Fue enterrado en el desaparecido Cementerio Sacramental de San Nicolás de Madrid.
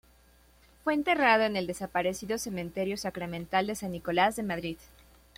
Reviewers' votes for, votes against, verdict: 2, 0, accepted